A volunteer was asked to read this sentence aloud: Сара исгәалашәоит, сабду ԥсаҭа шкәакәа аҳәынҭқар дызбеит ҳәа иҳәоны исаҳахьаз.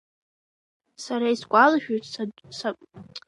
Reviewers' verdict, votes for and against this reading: rejected, 0, 2